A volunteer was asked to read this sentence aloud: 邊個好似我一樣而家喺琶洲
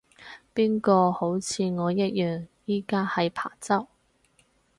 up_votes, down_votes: 2, 4